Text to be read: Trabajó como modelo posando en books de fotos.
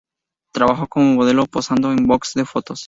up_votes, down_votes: 0, 2